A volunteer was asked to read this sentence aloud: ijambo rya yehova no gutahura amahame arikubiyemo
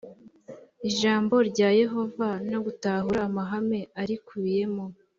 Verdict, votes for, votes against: accepted, 2, 0